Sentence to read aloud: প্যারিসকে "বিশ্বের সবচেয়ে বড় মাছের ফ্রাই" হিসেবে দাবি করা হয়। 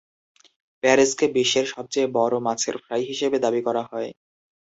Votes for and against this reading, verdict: 0, 2, rejected